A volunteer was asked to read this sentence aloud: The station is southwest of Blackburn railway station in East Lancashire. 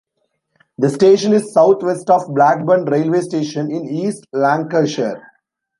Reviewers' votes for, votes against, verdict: 1, 2, rejected